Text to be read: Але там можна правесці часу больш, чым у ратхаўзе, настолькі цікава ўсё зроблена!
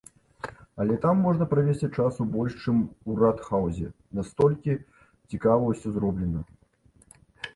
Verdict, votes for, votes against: accepted, 2, 0